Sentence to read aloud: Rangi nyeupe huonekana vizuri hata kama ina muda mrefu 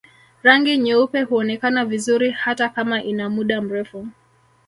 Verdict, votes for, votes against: accepted, 2, 1